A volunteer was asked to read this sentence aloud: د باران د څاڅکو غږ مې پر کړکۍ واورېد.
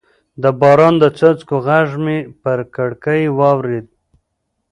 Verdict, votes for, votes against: rejected, 1, 2